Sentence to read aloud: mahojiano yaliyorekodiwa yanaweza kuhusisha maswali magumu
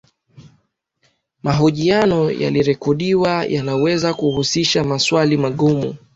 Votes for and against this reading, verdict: 2, 1, accepted